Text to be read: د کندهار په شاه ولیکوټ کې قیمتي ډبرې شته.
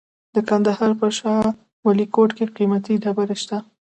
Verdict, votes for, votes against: accepted, 2, 0